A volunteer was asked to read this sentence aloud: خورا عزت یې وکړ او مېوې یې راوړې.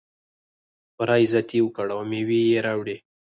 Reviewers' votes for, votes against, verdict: 0, 4, rejected